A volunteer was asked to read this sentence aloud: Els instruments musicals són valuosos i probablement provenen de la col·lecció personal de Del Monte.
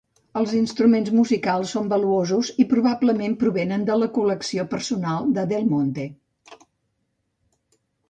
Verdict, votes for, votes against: accepted, 2, 0